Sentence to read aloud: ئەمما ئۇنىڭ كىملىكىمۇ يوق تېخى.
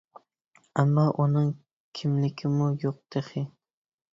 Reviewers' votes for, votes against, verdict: 2, 0, accepted